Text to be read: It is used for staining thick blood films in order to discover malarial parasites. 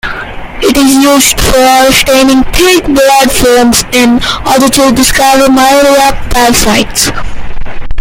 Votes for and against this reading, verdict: 0, 2, rejected